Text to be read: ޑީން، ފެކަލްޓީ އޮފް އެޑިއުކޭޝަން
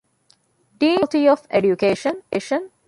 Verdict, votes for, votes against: rejected, 0, 2